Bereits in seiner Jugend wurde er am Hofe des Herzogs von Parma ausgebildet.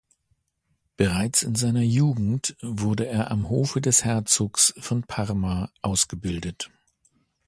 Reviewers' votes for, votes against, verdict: 2, 0, accepted